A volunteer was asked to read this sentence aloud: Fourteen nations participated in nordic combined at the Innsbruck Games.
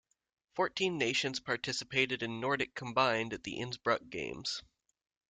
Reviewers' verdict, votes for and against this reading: accepted, 2, 0